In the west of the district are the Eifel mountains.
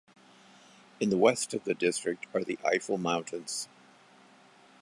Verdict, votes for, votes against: accepted, 2, 0